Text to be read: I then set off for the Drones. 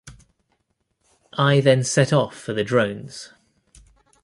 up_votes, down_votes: 2, 0